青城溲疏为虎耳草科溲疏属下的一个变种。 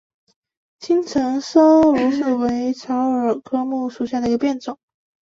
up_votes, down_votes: 5, 4